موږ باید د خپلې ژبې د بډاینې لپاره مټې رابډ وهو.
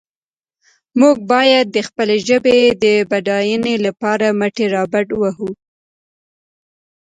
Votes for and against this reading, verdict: 2, 0, accepted